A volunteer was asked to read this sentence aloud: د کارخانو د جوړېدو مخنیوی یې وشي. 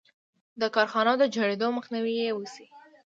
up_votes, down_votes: 2, 0